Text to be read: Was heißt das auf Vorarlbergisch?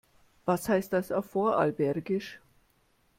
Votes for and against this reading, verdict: 0, 2, rejected